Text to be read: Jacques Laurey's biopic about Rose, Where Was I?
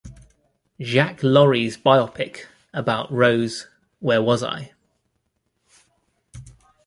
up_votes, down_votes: 2, 0